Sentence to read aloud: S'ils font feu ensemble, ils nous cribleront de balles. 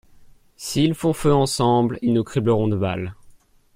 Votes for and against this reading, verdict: 2, 1, accepted